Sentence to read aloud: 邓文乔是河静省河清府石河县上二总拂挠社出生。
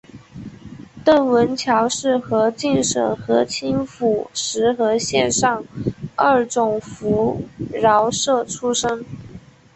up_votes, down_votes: 3, 1